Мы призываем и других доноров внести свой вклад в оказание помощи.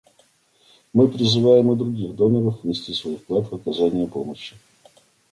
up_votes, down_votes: 1, 2